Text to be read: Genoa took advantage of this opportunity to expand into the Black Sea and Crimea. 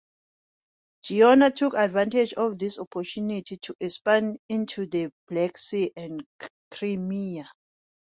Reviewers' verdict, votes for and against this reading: accepted, 2, 0